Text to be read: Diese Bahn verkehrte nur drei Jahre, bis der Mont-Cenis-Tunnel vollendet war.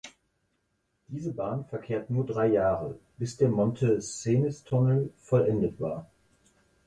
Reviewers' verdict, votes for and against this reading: rejected, 0, 4